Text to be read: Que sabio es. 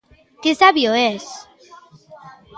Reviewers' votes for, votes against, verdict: 2, 0, accepted